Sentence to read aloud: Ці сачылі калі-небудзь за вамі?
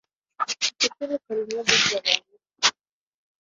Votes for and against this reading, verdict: 0, 2, rejected